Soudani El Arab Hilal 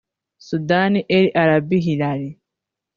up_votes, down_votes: 1, 2